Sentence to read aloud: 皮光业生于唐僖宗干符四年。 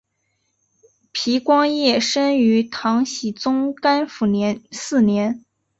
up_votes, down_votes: 0, 2